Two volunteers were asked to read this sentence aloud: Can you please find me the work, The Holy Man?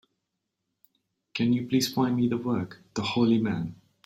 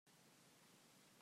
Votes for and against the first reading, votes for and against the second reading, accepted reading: 2, 0, 0, 2, first